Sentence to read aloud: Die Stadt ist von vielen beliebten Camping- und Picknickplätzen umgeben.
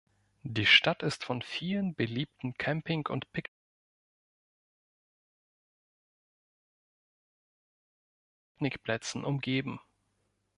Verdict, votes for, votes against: rejected, 1, 3